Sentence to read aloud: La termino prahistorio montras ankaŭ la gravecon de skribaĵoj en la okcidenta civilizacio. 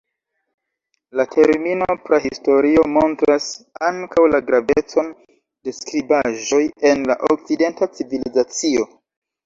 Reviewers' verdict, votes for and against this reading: accepted, 2, 1